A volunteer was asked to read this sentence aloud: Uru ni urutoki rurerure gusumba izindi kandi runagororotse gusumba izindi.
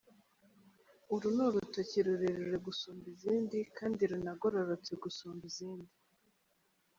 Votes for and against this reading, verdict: 2, 0, accepted